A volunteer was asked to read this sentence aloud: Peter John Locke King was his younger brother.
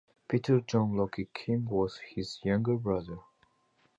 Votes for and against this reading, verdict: 1, 2, rejected